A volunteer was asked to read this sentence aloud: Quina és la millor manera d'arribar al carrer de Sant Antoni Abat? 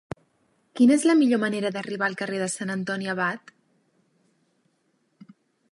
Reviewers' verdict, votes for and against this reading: rejected, 0, 2